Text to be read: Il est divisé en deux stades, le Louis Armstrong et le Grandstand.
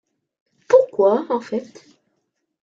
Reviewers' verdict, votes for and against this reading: rejected, 0, 2